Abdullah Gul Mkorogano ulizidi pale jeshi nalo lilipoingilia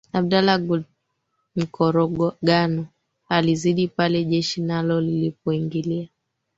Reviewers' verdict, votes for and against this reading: rejected, 2, 3